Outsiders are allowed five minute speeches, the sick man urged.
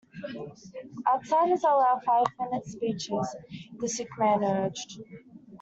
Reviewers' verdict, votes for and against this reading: rejected, 0, 2